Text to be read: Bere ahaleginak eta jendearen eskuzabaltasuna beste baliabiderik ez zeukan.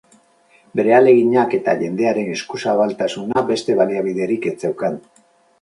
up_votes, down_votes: 2, 4